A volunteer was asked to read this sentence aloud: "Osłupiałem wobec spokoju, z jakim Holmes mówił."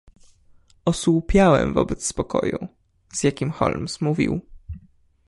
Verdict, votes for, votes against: accepted, 2, 0